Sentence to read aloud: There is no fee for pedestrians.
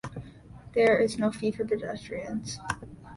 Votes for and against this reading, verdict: 2, 0, accepted